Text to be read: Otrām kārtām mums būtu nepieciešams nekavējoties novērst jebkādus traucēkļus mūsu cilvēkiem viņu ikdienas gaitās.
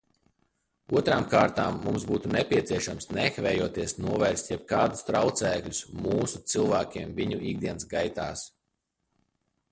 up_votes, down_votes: 0, 2